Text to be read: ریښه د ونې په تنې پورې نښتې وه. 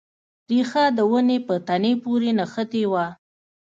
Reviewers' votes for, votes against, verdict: 2, 0, accepted